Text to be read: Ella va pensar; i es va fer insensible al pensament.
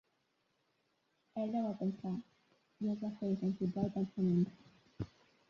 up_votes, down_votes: 2, 0